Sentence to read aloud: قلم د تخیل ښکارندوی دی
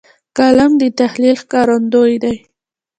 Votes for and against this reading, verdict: 1, 2, rejected